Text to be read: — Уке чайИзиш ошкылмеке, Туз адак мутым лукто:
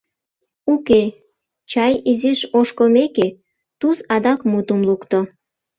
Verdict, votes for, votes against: rejected, 0, 2